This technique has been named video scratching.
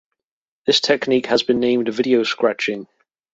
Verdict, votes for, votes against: accepted, 2, 0